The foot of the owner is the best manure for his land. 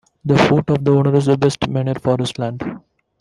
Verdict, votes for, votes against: rejected, 0, 2